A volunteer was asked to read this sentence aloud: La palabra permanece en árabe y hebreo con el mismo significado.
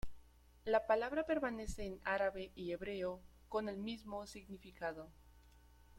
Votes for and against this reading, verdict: 1, 2, rejected